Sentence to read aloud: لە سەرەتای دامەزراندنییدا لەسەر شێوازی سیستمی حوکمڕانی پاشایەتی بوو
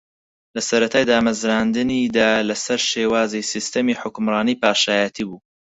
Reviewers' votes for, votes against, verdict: 4, 2, accepted